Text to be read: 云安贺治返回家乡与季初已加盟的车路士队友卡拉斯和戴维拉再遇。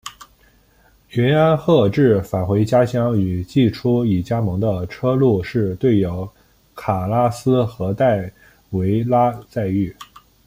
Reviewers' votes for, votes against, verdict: 2, 0, accepted